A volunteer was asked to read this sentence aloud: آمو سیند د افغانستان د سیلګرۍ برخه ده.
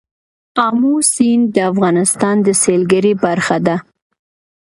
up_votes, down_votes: 2, 0